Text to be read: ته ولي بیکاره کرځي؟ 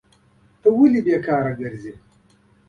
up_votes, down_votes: 2, 0